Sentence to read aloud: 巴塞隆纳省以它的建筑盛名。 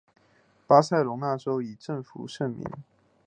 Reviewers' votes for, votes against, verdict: 1, 2, rejected